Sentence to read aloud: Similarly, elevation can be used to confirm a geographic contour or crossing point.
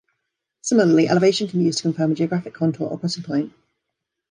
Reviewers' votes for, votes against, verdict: 1, 2, rejected